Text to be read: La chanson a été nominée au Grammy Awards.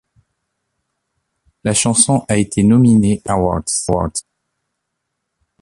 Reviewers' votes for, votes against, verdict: 0, 2, rejected